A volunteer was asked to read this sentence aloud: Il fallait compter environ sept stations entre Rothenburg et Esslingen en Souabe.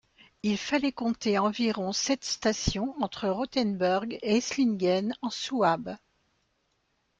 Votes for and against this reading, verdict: 2, 0, accepted